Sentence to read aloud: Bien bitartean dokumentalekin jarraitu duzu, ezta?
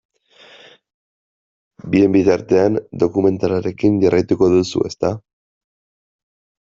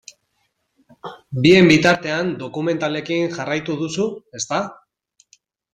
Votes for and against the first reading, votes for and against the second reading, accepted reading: 0, 2, 2, 0, second